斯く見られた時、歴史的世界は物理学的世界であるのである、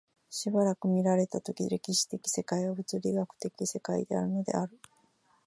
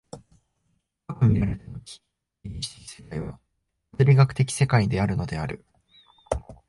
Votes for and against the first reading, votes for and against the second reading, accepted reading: 2, 0, 0, 2, first